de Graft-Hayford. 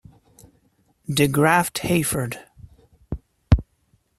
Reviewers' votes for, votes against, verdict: 2, 1, accepted